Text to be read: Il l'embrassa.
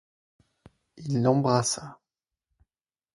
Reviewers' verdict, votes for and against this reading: accepted, 4, 0